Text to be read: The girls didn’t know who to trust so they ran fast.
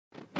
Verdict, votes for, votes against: rejected, 0, 2